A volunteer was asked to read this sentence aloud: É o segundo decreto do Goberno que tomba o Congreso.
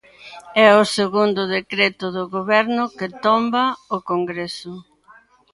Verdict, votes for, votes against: rejected, 0, 2